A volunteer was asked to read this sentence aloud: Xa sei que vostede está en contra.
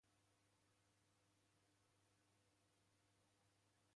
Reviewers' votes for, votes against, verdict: 1, 2, rejected